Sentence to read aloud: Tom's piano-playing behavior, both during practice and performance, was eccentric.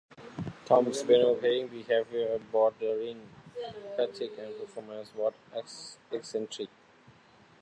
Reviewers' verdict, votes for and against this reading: rejected, 0, 2